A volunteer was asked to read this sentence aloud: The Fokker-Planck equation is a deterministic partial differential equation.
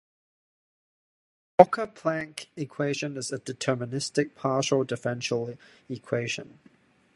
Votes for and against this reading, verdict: 0, 2, rejected